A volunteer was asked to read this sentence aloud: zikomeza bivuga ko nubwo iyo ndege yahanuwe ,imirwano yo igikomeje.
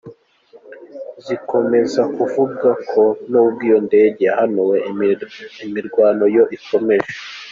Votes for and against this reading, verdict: 1, 3, rejected